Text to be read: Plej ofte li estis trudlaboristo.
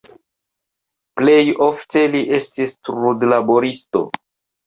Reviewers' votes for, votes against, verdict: 2, 0, accepted